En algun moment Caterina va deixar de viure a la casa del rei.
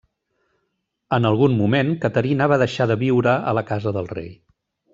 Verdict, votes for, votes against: accepted, 2, 0